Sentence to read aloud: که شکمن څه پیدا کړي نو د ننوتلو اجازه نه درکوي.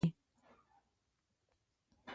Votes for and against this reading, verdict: 1, 3, rejected